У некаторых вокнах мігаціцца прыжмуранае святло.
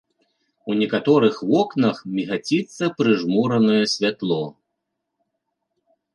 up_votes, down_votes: 2, 0